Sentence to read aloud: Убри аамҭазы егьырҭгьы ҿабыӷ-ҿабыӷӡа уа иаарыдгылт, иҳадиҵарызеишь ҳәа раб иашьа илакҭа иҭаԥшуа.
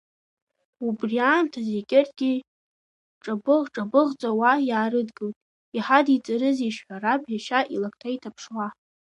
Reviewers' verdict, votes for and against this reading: rejected, 0, 2